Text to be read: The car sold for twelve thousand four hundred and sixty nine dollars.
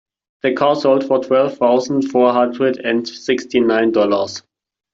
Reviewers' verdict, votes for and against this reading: accepted, 2, 0